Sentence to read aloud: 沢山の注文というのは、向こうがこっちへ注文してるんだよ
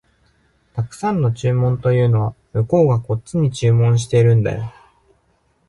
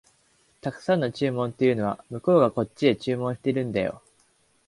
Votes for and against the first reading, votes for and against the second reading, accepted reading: 0, 2, 2, 0, second